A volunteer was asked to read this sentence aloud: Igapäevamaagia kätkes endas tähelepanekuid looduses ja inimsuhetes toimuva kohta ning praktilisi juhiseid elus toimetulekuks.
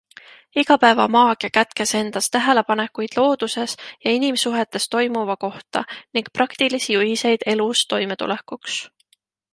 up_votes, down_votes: 2, 0